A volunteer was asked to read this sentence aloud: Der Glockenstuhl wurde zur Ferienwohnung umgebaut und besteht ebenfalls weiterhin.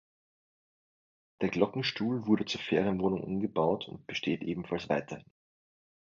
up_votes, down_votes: 1, 2